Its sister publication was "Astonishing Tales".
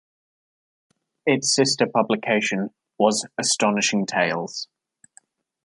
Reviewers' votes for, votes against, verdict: 2, 0, accepted